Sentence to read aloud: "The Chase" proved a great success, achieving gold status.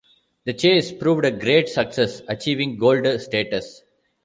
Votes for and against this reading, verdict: 0, 2, rejected